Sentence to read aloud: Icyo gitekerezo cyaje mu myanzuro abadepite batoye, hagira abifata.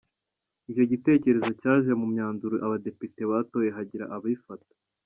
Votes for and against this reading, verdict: 2, 0, accepted